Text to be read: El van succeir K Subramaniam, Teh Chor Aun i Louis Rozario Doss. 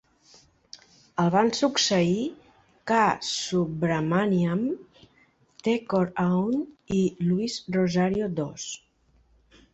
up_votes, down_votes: 0, 3